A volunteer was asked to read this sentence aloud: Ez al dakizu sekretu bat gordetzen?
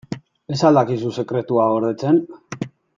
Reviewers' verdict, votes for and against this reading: rejected, 1, 2